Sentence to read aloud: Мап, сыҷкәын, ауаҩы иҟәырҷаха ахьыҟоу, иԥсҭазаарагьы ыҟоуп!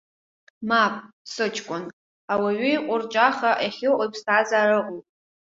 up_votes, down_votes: 1, 2